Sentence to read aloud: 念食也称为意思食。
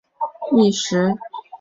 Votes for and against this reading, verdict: 1, 2, rejected